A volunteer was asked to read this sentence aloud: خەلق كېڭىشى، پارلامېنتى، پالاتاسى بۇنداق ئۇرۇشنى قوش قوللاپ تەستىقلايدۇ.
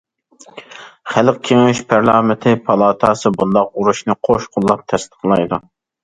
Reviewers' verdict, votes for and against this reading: accepted, 2, 0